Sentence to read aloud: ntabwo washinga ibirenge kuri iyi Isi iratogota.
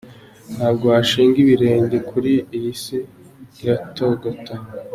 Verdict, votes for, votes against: accepted, 2, 0